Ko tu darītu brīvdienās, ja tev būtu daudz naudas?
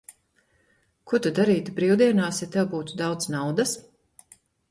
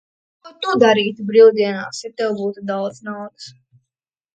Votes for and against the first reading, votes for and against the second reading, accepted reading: 2, 0, 0, 2, first